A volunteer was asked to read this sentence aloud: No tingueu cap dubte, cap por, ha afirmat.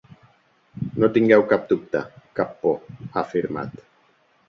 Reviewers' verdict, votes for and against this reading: accepted, 5, 0